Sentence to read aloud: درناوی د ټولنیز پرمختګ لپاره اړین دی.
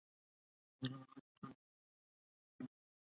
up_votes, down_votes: 0, 2